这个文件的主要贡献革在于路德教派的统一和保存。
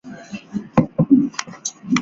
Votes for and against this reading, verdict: 0, 3, rejected